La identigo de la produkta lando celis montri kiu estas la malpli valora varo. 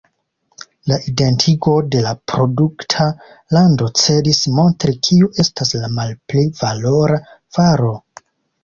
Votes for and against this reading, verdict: 2, 0, accepted